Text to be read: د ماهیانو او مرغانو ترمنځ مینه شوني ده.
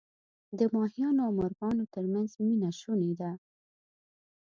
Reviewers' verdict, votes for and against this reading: accepted, 2, 0